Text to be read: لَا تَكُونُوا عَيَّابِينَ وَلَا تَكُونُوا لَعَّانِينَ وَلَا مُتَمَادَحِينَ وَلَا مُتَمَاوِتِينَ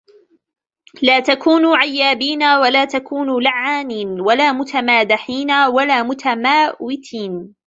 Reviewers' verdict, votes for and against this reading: rejected, 1, 2